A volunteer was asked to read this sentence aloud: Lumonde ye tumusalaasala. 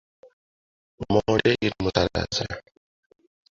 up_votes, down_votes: 0, 2